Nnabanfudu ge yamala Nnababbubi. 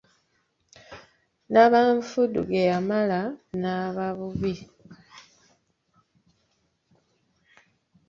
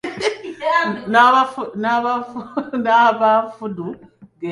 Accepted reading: first